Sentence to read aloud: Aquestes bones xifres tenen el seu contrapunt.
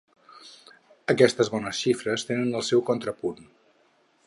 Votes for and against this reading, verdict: 10, 0, accepted